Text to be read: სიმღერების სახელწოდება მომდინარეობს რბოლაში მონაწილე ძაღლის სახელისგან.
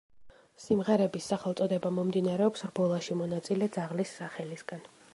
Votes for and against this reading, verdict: 2, 0, accepted